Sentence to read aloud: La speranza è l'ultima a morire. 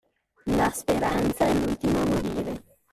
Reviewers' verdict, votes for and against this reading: accepted, 2, 1